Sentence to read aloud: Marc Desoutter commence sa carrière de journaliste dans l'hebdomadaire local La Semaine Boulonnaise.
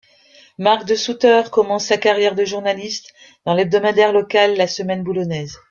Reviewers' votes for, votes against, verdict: 2, 1, accepted